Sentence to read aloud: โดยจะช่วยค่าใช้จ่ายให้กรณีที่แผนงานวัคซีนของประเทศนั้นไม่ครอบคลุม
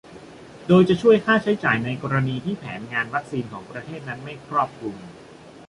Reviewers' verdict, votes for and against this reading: rejected, 1, 2